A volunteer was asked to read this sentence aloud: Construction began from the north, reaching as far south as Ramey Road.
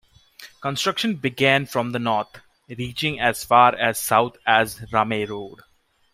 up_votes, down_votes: 1, 2